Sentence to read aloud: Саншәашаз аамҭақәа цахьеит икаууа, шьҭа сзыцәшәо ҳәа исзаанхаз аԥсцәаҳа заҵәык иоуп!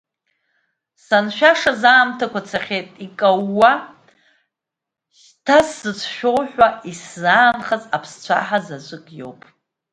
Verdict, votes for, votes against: accepted, 2, 1